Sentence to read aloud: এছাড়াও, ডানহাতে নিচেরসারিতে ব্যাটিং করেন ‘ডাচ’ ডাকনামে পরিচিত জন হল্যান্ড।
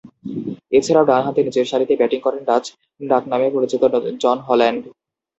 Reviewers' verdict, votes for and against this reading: rejected, 0, 2